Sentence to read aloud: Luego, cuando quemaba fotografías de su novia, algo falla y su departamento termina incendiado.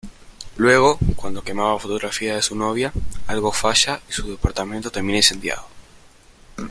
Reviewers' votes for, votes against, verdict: 2, 1, accepted